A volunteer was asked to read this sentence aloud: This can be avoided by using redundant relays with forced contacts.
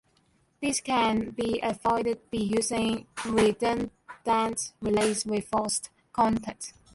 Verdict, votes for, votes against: rejected, 0, 2